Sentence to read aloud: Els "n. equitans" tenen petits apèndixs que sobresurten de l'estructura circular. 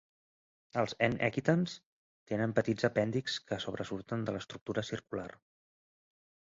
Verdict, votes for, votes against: accepted, 3, 0